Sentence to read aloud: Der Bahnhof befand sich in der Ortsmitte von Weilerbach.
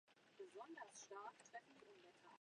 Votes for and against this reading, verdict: 0, 2, rejected